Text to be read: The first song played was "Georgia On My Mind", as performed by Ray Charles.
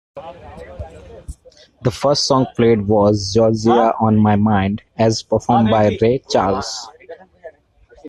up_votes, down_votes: 0, 2